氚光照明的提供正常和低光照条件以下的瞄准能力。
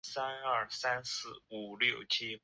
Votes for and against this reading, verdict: 0, 2, rejected